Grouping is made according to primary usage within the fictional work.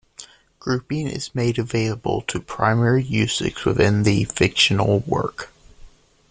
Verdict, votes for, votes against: rejected, 0, 2